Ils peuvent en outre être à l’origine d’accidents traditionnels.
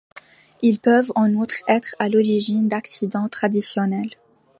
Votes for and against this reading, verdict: 2, 0, accepted